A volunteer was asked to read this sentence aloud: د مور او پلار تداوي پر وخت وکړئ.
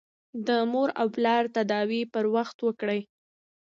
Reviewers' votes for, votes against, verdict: 1, 2, rejected